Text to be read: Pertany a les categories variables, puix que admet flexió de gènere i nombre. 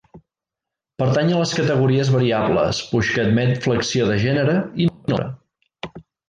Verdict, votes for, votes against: rejected, 0, 2